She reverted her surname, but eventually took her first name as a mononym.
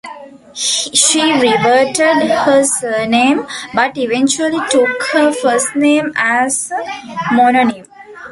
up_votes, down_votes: 0, 2